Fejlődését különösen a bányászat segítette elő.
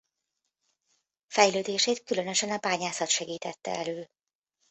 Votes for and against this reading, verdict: 2, 0, accepted